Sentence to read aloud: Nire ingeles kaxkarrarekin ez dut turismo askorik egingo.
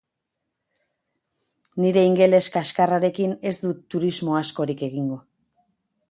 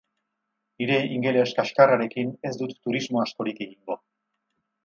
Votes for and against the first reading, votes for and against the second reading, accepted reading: 4, 0, 4, 4, first